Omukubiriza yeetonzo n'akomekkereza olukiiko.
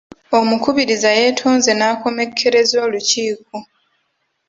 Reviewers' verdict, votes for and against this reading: accepted, 2, 0